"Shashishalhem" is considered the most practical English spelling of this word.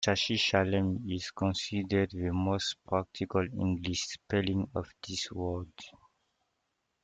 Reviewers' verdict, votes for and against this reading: rejected, 1, 2